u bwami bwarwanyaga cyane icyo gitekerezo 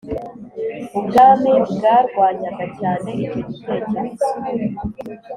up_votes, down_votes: 3, 0